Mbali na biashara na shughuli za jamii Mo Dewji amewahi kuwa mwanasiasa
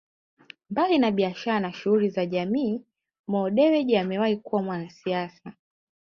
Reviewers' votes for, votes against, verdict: 2, 1, accepted